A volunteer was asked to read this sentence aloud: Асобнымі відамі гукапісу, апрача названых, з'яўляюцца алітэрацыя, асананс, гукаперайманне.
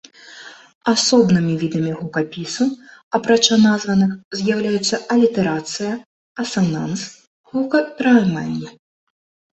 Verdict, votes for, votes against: accepted, 2, 0